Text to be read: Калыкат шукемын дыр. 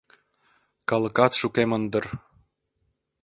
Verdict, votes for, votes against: accepted, 2, 0